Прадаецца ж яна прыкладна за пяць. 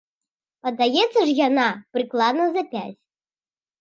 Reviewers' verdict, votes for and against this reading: rejected, 0, 2